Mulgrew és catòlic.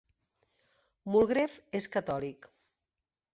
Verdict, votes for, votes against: rejected, 1, 2